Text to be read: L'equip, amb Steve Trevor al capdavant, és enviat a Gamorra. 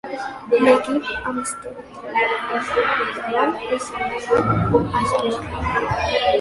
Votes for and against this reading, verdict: 0, 2, rejected